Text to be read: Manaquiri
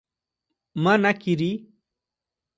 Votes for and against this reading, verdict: 2, 0, accepted